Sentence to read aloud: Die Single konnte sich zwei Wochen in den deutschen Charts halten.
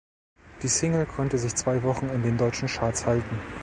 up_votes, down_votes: 2, 0